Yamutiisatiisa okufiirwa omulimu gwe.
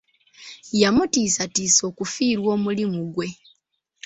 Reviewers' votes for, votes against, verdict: 2, 1, accepted